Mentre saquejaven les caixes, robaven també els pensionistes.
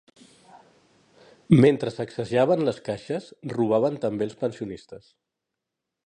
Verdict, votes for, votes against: accepted, 2, 0